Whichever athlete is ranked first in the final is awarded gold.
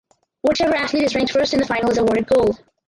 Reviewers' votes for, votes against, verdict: 4, 0, accepted